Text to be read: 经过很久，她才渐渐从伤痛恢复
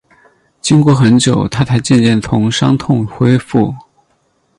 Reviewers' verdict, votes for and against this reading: accepted, 4, 0